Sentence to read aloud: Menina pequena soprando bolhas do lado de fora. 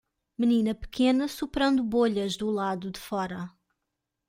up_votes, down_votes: 2, 0